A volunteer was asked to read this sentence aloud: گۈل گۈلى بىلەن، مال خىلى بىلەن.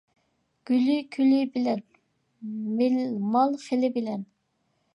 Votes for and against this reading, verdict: 1, 2, rejected